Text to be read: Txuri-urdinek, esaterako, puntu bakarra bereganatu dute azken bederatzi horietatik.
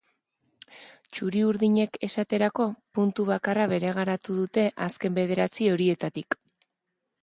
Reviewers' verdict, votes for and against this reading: accepted, 2, 1